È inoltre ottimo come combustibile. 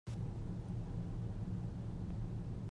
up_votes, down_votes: 0, 2